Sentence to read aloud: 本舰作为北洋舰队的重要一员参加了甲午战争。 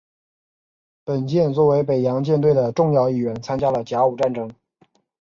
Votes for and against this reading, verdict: 2, 0, accepted